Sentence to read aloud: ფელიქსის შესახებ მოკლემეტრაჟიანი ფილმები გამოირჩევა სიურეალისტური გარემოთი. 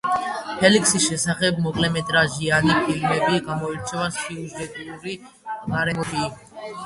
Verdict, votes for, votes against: rejected, 1, 2